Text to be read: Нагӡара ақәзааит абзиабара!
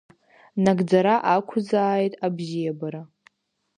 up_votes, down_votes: 2, 0